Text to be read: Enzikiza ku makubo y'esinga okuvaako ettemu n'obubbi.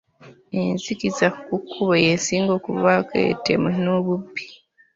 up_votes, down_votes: 0, 2